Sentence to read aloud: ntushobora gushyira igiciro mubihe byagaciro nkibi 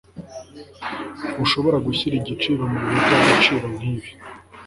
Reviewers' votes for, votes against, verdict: 2, 0, accepted